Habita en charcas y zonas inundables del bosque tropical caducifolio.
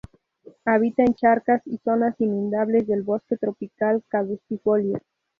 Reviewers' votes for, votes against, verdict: 0, 2, rejected